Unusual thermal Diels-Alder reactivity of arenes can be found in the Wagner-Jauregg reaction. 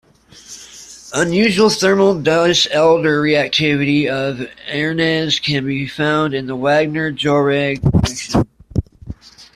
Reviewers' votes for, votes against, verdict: 2, 1, accepted